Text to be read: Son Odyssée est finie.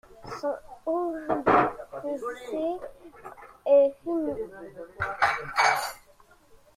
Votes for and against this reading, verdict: 0, 2, rejected